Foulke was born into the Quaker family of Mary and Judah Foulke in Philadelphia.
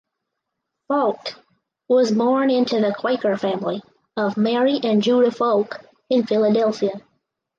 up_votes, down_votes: 2, 4